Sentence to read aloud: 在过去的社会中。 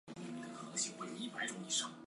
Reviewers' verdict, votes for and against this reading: rejected, 0, 2